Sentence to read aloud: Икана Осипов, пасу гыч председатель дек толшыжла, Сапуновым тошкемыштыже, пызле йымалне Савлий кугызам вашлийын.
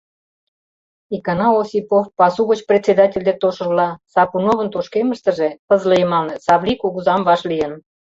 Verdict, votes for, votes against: rejected, 0, 2